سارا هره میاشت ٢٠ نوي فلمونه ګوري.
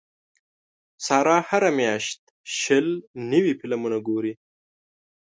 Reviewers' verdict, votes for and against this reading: rejected, 0, 2